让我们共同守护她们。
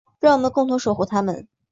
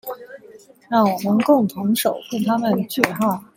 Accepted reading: first